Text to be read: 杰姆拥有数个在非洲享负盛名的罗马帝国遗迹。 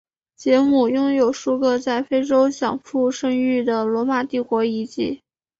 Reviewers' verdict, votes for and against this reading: accepted, 3, 1